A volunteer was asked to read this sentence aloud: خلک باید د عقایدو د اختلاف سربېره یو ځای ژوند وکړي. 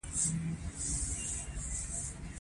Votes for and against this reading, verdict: 1, 3, rejected